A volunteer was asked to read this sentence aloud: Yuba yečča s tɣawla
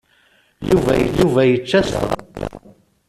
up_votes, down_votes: 0, 2